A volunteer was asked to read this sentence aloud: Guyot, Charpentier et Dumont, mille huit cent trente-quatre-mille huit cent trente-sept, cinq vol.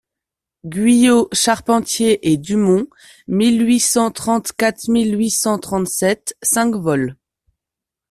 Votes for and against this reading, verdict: 2, 0, accepted